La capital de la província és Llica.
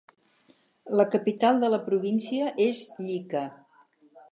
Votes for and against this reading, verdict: 6, 0, accepted